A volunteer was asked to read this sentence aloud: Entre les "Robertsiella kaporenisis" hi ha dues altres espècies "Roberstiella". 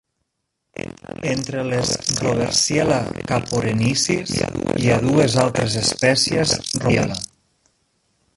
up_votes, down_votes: 0, 2